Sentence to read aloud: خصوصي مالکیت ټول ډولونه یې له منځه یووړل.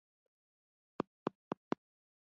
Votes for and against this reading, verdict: 2, 0, accepted